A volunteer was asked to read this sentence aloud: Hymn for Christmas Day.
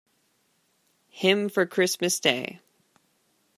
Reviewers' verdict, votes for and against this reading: accepted, 2, 0